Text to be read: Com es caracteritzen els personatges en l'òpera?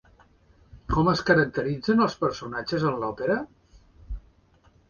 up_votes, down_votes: 2, 0